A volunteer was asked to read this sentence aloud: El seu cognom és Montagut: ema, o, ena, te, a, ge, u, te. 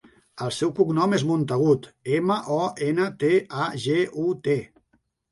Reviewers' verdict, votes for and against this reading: accepted, 8, 0